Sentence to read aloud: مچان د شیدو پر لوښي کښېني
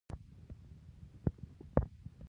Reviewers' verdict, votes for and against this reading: rejected, 0, 2